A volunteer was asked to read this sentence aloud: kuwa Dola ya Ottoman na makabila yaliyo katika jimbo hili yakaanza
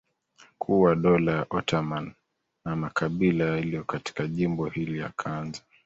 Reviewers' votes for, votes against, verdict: 2, 1, accepted